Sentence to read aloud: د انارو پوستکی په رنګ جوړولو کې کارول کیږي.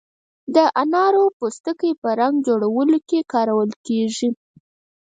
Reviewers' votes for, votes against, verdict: 2, 4, rejected